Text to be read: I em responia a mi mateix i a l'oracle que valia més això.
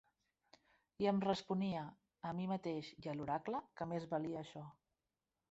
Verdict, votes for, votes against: rejected, 1, 2